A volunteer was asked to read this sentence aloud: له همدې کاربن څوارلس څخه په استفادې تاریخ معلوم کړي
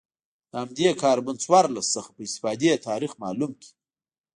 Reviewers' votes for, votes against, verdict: 2, 0, accepted